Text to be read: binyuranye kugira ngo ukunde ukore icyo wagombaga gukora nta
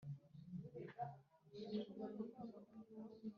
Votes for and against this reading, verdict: 1, 3, rejected